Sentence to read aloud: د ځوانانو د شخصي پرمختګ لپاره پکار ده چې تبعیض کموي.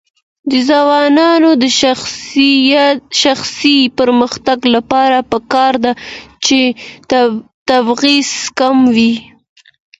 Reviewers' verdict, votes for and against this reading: accepted, 2, 0